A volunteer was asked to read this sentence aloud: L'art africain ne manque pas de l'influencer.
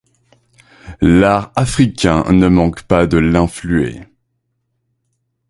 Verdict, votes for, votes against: rejected, 0, 2